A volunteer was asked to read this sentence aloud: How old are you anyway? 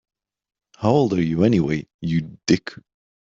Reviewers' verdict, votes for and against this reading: rejected, 0, 3